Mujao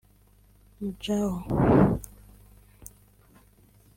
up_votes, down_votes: 1, 2